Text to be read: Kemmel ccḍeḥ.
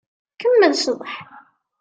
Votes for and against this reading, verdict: 2, 0, accepted